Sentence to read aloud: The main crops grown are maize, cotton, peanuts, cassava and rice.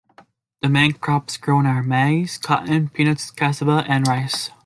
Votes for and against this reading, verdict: 2, 1, accepted